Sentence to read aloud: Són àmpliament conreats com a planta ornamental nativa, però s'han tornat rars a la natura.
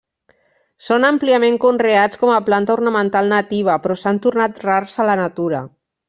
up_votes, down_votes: 0, 2